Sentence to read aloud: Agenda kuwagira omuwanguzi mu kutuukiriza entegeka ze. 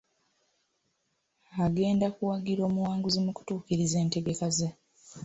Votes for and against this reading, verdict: 3, 0, accepted